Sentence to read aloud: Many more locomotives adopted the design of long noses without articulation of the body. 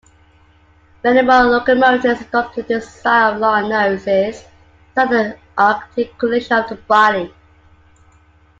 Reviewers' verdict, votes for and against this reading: rejected, 1, 2